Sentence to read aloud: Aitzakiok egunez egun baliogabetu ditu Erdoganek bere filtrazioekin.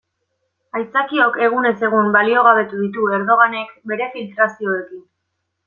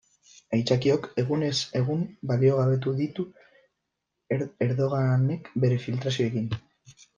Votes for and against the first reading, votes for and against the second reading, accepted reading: 2, 0, 0, 2, first